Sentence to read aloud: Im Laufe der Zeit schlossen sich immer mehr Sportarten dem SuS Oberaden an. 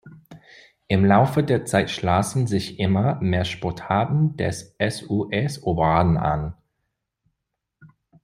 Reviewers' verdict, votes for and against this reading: accepted, 2, 1